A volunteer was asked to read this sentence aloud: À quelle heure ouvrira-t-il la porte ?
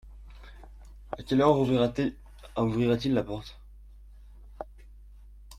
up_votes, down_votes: 1, 2